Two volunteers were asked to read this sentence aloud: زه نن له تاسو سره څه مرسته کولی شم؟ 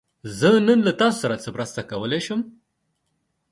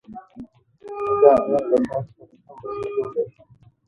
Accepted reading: first